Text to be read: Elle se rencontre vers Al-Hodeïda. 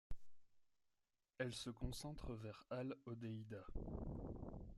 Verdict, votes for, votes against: rejected, 0, 2